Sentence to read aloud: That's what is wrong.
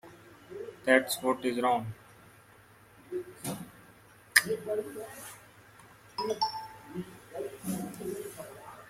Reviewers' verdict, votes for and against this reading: rejected, 1, 2